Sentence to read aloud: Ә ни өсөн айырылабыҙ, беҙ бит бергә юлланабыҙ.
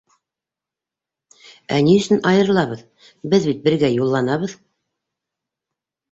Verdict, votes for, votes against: accepted, 2, 0